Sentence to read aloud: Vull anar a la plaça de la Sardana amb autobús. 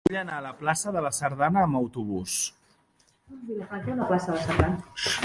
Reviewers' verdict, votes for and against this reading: rejected, 0, 2